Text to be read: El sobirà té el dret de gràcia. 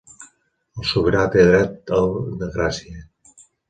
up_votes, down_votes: 0, 2